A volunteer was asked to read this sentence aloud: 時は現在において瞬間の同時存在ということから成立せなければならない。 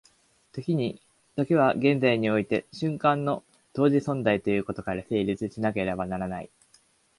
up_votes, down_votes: 1, 2